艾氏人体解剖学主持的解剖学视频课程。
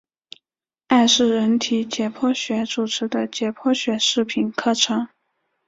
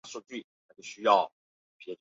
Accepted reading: first